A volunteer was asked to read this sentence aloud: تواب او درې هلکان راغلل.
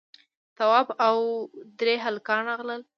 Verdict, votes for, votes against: rejected, 0, 2